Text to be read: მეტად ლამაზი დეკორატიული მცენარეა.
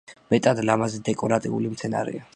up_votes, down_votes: 1, 2